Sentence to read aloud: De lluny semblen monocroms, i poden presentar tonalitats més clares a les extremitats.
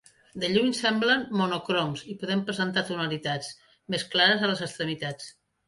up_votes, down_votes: 2, 0